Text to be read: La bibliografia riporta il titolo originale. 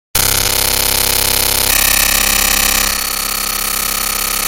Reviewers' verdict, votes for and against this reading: rejected, 0, 2